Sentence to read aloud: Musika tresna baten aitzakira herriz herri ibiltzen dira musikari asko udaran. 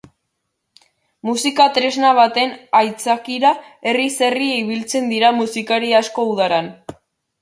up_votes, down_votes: 4, 0